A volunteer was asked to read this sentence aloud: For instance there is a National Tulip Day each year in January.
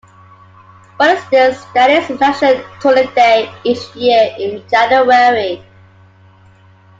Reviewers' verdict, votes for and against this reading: rejected, 1, 2